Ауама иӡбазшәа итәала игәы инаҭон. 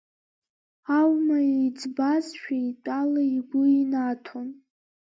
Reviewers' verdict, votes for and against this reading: accepted, 2, 1